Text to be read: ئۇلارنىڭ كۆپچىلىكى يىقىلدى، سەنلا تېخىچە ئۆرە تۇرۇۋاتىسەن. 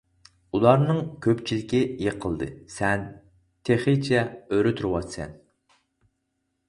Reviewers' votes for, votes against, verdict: 2, 4, rejected